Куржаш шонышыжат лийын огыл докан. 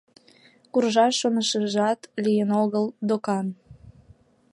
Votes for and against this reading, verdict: 2, 0, accepted